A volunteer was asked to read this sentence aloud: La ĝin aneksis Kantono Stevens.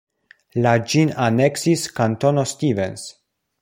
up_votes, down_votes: 2, 0